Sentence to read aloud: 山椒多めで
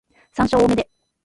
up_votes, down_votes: 1, 2